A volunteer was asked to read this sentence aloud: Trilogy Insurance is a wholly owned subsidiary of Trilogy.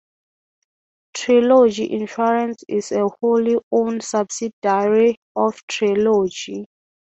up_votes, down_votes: 3, 0